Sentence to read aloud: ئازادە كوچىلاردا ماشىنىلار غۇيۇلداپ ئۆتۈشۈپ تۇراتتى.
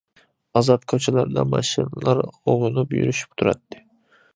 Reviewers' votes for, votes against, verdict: 0, 2, rejected